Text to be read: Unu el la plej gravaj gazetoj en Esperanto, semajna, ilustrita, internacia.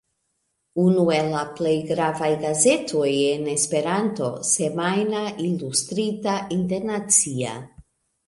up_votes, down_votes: 3, 2